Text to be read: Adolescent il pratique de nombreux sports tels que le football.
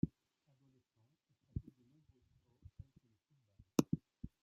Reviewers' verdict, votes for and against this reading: rejected, 0, 2